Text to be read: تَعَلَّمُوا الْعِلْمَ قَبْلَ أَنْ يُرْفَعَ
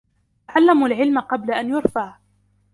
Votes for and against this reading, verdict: 2, 0, accepted